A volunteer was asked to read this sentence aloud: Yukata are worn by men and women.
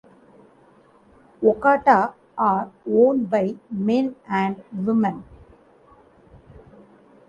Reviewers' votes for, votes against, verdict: 2, 1, accepted